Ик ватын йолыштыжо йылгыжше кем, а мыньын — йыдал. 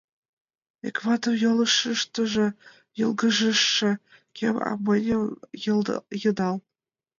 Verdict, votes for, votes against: rejected, 0, 5